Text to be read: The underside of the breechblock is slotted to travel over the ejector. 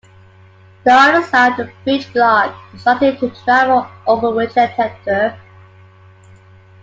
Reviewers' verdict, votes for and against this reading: rejected, 0, 2